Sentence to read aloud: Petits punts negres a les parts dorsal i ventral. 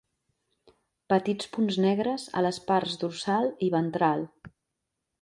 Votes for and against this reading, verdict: 3, 0, accepted